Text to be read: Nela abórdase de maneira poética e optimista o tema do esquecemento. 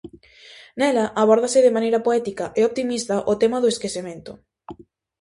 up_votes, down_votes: 2, 0